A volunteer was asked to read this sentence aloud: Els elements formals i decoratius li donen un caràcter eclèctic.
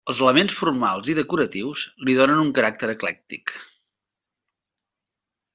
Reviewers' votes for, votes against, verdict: 3, 0, accepted